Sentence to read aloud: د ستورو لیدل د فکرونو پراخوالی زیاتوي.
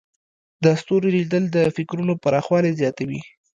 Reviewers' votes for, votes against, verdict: 0, 2, rejected